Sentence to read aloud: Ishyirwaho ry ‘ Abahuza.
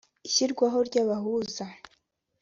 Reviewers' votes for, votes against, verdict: 2, 0, accepted